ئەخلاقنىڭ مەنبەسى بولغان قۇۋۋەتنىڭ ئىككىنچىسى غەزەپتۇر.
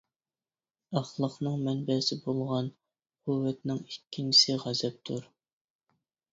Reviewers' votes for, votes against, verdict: 2, 0, accepted